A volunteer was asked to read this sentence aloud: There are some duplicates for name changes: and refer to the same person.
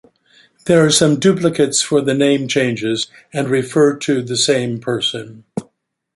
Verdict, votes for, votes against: rejected, 1, 2